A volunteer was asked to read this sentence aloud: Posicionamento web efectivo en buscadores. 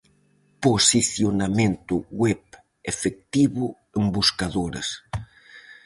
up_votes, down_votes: 2, 2